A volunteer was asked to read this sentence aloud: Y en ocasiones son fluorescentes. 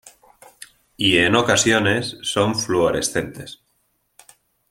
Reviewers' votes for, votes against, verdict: 2, 0, accepted